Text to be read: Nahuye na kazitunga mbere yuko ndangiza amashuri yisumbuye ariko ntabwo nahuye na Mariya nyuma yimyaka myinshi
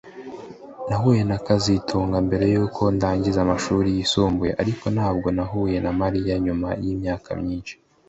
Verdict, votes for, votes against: rejected, 1, 2